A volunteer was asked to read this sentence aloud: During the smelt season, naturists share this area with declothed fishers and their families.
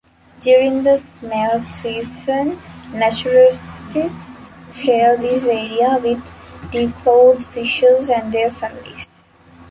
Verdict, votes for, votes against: accepted, 2, 0